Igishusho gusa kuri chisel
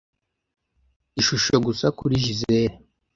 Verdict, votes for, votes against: rejected, 1, 2